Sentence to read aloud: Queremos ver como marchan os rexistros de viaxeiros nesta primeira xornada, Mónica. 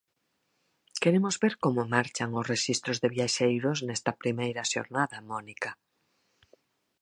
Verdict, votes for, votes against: accepted, 4, 0